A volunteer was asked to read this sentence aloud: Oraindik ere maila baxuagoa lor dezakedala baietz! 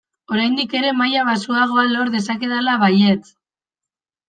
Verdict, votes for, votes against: accepted, 2, 0